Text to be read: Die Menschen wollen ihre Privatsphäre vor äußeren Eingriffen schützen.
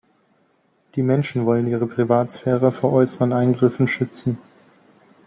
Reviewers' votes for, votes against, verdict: 2, 0, accepted